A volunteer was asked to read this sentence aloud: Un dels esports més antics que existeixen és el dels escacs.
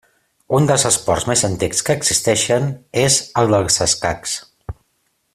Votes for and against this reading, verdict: 2, 0, accepted